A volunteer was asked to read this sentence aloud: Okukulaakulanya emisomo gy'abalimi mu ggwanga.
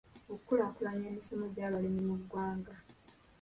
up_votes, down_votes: 0, 2